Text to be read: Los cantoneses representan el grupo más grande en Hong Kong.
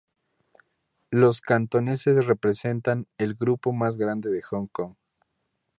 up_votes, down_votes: 0, 2